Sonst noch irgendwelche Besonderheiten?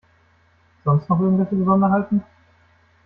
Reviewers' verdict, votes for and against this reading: accepted, 2, 0